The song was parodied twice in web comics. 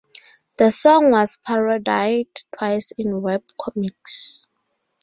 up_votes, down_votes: 0, 2